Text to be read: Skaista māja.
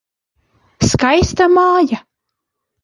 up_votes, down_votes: 2, 0